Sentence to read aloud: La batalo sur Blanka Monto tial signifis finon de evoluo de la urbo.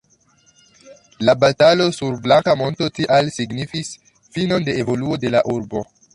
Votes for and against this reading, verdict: 2, 0, accepted